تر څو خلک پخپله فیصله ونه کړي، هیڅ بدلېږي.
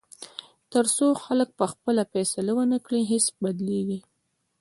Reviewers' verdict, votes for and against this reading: accepted, 2, 0